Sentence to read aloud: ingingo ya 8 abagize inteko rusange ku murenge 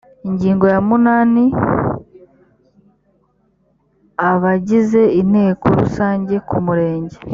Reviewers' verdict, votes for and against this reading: rejected, 0, 2